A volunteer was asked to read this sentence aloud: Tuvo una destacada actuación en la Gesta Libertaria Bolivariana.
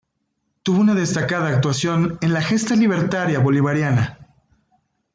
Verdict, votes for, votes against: accepted, 2, 1